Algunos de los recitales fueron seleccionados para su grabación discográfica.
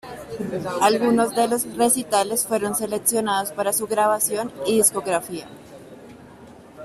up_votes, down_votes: 0, 2